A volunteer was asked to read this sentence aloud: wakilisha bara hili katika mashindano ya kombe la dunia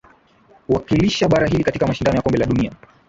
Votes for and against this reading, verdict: 2, 0, accepted